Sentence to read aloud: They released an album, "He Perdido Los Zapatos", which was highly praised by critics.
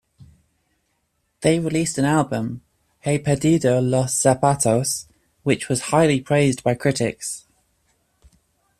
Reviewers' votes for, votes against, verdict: 2, 1, accepted